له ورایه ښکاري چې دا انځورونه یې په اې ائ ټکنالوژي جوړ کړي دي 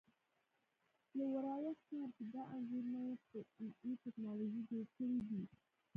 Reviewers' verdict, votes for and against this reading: rejected, 1, 2